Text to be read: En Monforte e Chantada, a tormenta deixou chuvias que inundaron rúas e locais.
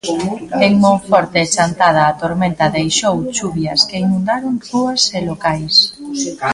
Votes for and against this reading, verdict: 1, 2, rejected